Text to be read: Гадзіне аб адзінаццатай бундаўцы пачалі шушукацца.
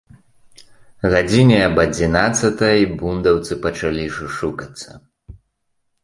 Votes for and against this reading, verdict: 2, 0, accepted